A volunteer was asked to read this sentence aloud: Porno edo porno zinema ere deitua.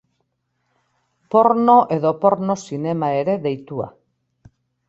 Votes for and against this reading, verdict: 2, 0, accepted